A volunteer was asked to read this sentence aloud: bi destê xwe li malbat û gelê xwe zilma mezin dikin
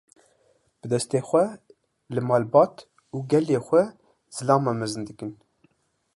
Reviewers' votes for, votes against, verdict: 0, 2, rejected